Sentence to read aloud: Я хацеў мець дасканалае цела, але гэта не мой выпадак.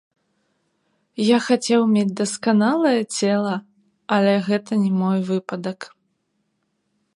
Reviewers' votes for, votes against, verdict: 0, 2, rejected